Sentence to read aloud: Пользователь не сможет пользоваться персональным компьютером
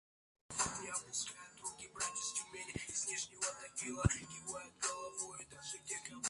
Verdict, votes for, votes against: rejected, 0, 2